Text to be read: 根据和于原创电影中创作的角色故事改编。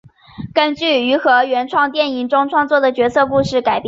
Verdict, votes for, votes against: accepted, 2, 1